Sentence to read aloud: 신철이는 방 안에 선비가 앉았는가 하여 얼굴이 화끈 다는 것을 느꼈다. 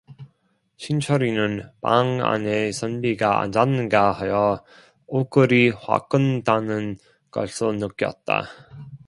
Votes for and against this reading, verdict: 0, 2, rejected